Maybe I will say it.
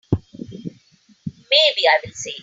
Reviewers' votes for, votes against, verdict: 2, 3, rejected